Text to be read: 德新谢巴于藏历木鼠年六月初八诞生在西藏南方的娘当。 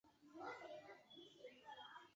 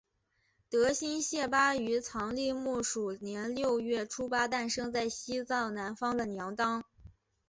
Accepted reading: second